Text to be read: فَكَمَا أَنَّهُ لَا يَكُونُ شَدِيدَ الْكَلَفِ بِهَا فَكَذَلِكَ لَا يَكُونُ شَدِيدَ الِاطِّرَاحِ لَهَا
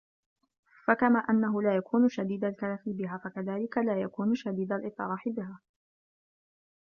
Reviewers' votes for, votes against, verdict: 1, 2, rejected